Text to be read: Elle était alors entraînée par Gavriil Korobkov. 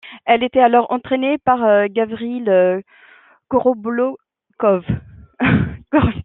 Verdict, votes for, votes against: rejected, 0, 2